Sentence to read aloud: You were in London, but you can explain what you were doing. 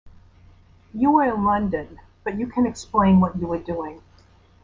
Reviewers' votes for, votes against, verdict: 2, 0, accepted